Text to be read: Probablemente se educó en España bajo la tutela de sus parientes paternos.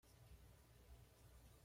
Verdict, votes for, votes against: rejected, 1, 2